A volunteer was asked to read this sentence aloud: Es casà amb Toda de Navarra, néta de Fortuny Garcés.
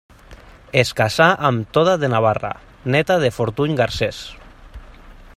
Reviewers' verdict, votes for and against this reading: rejected, 0, 2